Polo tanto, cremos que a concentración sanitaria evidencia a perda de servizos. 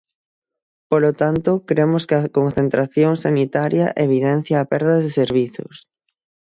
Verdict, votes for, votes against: rejected, 0, 6